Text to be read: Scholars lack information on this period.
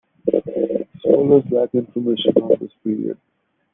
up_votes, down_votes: 0, 2